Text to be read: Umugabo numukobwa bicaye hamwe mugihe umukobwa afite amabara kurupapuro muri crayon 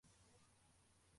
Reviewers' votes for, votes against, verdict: 0, 2, rejected